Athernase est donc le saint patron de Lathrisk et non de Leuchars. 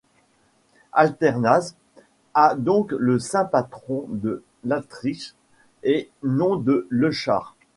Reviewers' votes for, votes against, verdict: 0, 2, rejected